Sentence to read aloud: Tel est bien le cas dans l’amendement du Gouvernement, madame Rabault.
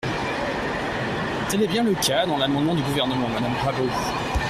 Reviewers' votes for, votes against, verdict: 0, 2, rejected